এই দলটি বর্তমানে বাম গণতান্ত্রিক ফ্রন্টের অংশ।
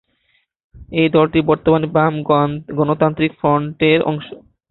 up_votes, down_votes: 0, 2